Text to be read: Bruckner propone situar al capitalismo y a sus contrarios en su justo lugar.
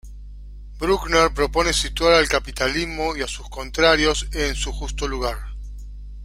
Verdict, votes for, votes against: accepted, 2, 0